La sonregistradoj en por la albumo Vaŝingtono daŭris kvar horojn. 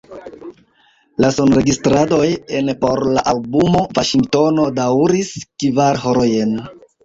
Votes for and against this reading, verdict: 0, 2, rejected